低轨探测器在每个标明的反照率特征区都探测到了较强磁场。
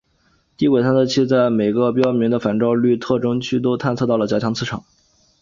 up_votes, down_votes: 2, 0